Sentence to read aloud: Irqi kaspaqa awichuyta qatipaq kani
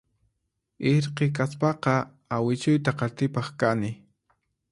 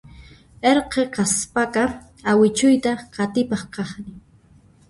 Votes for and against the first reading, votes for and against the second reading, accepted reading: 4, 0, 0, 2, first